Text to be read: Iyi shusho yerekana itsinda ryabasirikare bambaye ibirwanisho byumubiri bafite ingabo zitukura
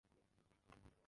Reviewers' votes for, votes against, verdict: 0, 2, rejected